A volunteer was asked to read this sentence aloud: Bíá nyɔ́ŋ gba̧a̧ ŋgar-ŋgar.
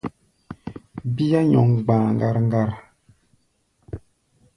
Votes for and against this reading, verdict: 1, 2, rejected